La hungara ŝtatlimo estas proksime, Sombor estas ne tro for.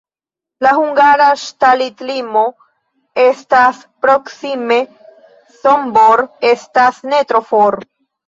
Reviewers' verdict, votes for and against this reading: rejected, 1, 2